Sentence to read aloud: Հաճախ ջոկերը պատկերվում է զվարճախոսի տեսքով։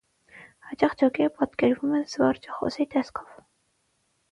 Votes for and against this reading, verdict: 6, 0, accepted